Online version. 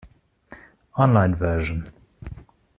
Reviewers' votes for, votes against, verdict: 2, 1, accepted